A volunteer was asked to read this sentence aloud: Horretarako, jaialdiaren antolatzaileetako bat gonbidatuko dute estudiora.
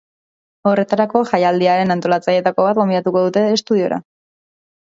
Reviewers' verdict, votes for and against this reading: accepted, 2, 0